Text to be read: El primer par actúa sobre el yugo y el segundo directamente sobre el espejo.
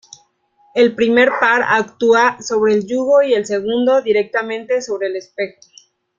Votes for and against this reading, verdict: 2, 1, accepted